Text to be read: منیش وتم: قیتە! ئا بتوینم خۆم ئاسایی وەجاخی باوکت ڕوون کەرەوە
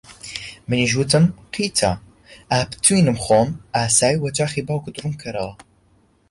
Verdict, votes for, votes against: accepted, 2, 0